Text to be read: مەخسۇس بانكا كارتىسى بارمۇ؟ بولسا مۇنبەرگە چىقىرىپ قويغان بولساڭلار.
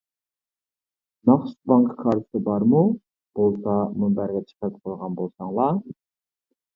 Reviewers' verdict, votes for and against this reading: rejected, 1, 2